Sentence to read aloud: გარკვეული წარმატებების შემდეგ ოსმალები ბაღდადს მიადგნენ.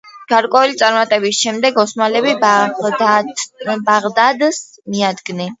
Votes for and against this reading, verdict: 2, 1, accepted